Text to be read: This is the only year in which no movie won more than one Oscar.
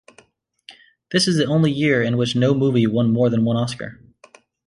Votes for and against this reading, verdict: 2, 0, accepted